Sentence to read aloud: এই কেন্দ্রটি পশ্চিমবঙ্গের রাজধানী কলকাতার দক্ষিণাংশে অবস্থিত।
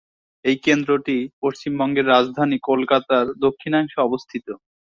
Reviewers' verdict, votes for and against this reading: accepted, 2, 0